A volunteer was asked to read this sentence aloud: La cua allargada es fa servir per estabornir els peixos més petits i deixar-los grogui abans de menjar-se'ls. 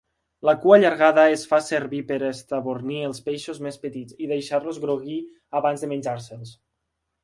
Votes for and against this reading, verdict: 3, 0, accepted